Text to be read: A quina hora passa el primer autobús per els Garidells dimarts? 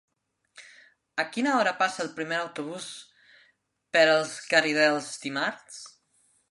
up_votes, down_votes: 0, 2